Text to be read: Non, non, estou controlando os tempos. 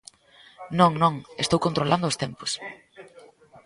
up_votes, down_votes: 1, 2